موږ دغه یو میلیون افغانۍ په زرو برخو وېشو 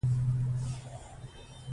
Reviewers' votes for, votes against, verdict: 1, 2, rejected